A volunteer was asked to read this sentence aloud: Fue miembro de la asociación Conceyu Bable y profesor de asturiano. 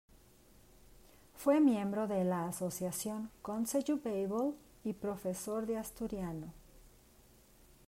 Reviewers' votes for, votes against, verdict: 1, 2, rejected